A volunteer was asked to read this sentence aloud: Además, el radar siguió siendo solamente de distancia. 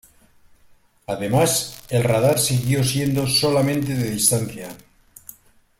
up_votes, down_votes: 0, 2